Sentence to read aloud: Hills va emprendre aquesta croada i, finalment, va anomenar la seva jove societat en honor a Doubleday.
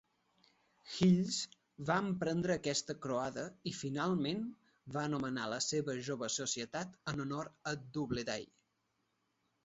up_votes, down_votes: 2, 0